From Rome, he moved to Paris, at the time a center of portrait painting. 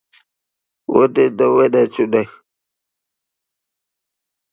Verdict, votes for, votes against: rejected, 0, 2